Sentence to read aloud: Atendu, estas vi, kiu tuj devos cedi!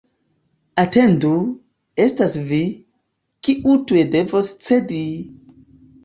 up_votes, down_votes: 2, 0